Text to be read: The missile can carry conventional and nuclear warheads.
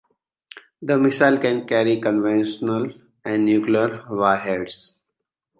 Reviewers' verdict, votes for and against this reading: accepted, 2, 0